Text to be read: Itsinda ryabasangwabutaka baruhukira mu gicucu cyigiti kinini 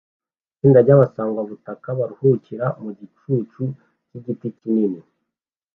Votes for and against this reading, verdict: 2, 0, accepted